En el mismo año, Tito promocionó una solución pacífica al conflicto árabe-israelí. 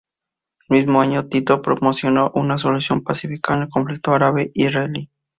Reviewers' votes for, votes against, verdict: 0, 2, rejected